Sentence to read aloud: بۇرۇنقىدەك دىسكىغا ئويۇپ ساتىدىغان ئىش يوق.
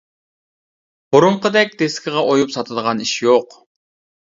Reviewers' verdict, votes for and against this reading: accepted, 2, 0